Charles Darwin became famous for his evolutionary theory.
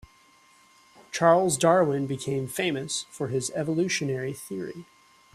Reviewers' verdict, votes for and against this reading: accepted, 3, 0